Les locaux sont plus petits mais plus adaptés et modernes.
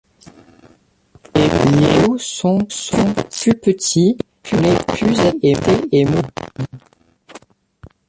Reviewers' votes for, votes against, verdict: 0, 2, rejected